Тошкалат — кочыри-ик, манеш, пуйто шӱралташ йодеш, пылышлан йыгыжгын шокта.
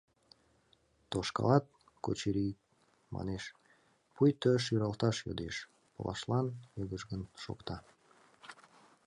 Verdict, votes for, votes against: accepted, 2, 1